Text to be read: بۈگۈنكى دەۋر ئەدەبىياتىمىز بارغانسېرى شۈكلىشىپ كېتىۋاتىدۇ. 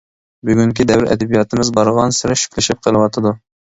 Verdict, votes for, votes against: rejected, 0, 2